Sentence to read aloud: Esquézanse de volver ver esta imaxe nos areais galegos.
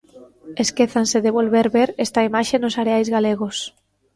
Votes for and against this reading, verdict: 2, 1, accepted